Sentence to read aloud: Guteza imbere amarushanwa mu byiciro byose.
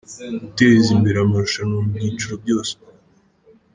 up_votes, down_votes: 1, 2